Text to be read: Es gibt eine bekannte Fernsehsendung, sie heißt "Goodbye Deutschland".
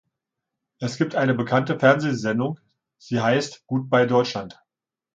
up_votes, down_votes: 2, 0